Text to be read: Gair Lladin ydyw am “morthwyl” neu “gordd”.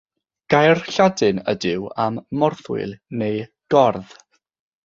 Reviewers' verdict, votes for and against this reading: accepted, 3, 0